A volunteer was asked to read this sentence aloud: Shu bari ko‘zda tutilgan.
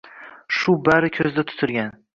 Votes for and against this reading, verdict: 2, 0, accepted